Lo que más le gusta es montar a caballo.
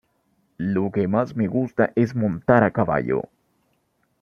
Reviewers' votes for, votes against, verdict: 0, 2, rejected